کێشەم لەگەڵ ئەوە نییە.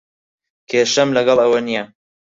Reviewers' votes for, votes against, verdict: 4, 0, accepted